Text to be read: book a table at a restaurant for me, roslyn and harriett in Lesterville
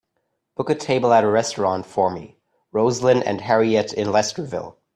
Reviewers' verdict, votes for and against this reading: accepted, 2, 0